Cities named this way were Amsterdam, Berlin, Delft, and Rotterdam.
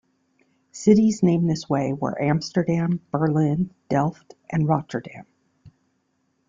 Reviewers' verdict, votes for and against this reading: accepted, 2, 0